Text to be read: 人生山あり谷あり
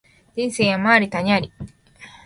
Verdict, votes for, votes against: accepted, 4, 0